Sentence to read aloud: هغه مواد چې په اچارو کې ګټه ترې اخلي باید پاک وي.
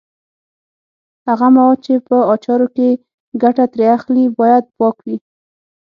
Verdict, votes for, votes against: accepted, 6, 0